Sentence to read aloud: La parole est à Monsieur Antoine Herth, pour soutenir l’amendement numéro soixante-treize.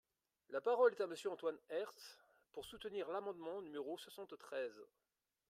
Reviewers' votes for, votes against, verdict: 2, 0, accepted